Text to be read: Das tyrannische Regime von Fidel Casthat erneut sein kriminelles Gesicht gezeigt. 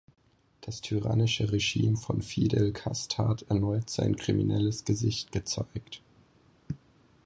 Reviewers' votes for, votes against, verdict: 4, 0, accepted